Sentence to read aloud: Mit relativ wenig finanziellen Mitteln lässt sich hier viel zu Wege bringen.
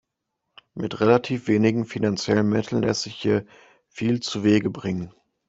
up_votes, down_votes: 0, 2